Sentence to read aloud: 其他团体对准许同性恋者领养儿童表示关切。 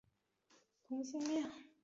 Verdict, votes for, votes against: rejected, 0, 5